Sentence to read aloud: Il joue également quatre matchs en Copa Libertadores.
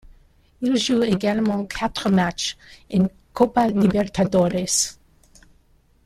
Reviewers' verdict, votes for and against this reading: rejected, 1, 2